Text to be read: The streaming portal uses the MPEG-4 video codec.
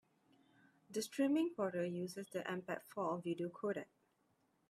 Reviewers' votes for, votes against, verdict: 0, 2, rejected